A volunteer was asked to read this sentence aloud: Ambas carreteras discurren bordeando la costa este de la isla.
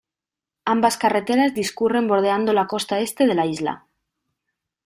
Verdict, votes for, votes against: accepted, 2, 0